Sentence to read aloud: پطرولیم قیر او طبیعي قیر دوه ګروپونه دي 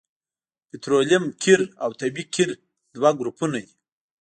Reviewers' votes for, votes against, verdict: 2, 0, accepted